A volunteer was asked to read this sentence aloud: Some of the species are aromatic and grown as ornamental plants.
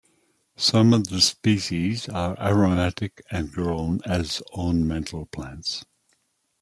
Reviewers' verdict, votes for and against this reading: accepted, 2, 0